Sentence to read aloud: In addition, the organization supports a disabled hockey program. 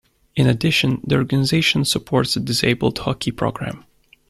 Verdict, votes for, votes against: accepted, 2, 0